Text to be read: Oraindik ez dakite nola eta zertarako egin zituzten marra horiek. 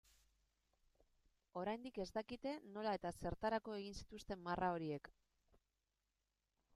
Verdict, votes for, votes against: accepted, 2, 0